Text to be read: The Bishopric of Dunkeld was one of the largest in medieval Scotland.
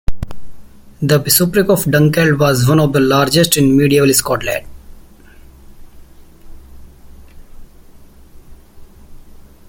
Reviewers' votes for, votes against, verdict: 1, 2, rejected